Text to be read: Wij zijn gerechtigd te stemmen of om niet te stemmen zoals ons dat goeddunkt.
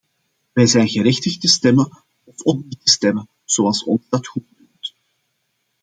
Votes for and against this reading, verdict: 0, 2, rejected